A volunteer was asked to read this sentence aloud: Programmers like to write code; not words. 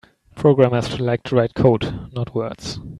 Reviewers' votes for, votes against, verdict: 2, 0, accepted